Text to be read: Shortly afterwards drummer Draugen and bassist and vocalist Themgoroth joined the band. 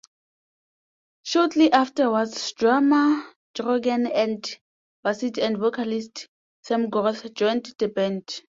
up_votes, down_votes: 2, 0